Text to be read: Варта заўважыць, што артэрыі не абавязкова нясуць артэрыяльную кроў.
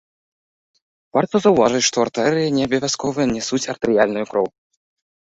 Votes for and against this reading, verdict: 2, 0, accepted